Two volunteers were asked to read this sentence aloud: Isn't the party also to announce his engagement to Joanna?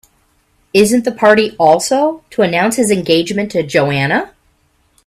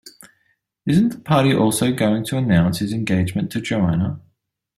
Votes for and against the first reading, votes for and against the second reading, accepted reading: 3, 0, 0, 2, first